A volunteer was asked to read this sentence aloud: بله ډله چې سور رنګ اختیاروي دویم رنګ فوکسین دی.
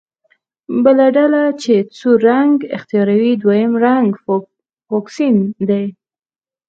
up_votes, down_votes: 2, 4